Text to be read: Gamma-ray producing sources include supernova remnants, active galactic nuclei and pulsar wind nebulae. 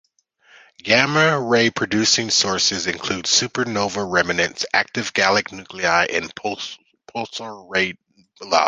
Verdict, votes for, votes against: rejected, 0, 2